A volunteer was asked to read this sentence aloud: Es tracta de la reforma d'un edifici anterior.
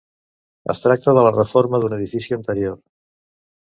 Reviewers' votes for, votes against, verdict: 2, 0, accepted